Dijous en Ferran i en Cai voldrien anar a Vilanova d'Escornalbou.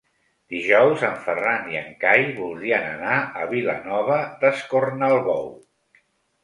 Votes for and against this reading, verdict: 4, 0, accepted